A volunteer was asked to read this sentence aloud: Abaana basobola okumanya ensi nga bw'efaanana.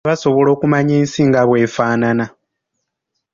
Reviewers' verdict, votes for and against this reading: accepted, 2, 0